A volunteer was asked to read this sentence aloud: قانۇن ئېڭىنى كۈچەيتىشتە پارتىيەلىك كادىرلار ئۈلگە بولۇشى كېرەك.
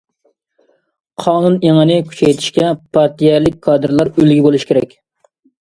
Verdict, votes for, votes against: rejected, 0, 2